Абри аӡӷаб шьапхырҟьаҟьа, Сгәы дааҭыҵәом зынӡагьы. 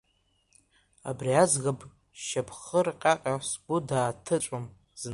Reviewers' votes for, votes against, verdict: 0, 2, rejected